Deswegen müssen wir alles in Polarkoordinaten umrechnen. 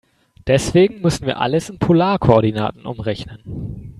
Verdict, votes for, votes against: accepted, 4, 0